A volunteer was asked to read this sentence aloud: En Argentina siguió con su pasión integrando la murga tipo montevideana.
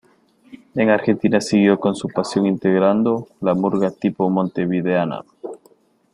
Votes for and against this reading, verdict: 1, 2, rejected